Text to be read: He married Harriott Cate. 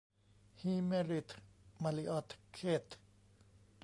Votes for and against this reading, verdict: 0, 2, rejected